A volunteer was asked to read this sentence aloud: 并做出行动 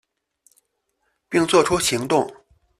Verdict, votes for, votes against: accepted, 2, 0